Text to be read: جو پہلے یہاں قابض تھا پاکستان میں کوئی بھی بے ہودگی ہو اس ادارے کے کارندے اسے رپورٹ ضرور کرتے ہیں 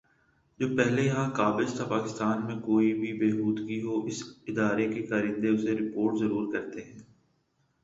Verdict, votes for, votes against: accepted, 2, 0